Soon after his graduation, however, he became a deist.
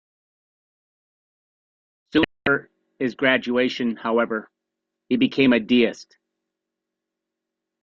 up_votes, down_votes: 1, 2